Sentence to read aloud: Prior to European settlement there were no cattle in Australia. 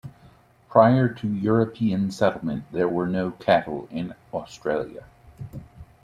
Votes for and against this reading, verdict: 2, 0, accepted